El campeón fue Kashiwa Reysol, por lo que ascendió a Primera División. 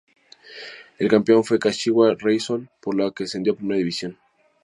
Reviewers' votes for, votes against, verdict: 0, 2, rejected